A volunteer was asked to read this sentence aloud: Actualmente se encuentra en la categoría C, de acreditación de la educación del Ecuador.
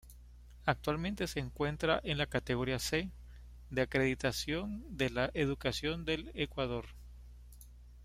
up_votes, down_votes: 2, 0